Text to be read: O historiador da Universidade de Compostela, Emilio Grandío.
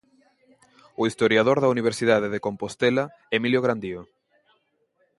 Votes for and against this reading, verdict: 2, 1, accepted